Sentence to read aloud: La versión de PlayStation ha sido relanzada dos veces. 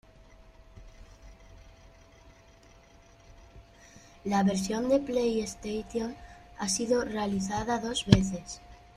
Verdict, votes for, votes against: rejected, 1, 2